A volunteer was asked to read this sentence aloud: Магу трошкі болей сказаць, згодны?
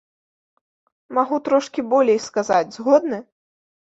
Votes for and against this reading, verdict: 1, 2, rejected